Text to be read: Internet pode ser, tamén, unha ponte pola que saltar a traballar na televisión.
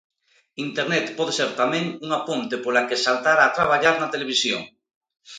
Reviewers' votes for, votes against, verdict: 2, 0, accepted